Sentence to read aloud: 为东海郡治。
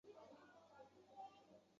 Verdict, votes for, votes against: rejected, 0, 4